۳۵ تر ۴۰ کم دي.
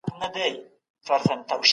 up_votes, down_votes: 0, 2